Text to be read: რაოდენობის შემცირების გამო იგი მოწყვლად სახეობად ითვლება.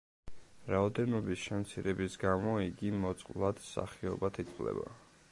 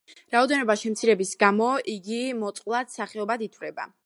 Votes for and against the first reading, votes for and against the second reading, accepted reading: 2, 0, 0, 2, first